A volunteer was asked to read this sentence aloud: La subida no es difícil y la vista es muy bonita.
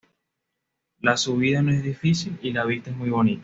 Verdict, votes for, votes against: accepted, 2, 0